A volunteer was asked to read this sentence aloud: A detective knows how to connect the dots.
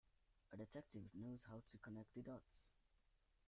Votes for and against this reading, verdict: 0, 2, rejected